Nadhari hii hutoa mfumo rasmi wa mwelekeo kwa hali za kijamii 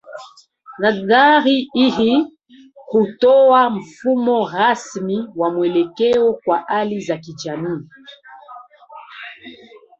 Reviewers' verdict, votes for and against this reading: accepted, 2, 0